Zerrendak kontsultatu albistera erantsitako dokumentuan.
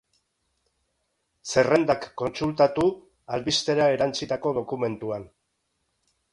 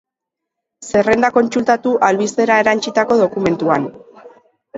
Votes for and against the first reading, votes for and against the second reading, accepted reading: 3, 0, 0, 2, first